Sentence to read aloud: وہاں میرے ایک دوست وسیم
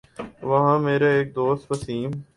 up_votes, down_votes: 2, 0